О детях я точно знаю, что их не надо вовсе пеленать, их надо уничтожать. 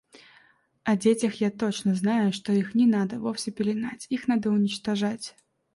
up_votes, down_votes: 2, 0